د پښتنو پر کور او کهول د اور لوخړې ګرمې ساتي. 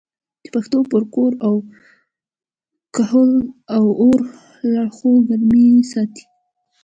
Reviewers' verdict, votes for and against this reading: accepted, 2, 0